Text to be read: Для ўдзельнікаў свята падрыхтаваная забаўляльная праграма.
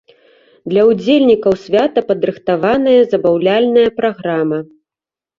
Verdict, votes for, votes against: accepted, 2, 0